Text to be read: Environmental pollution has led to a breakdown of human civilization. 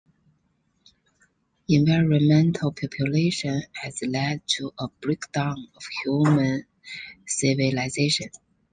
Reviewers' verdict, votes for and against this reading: rejected, 1, 2